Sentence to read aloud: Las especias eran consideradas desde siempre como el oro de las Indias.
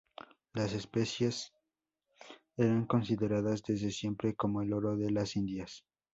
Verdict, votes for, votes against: rejected, 0, 2